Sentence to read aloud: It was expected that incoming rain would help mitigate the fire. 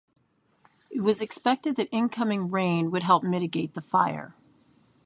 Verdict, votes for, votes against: accepted, 3, 0